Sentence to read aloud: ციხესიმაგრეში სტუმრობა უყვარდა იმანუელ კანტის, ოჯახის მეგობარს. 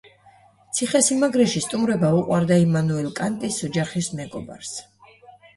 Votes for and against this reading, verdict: 2, 0, accepted